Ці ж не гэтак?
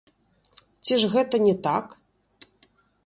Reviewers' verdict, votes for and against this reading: rejected, 0, 2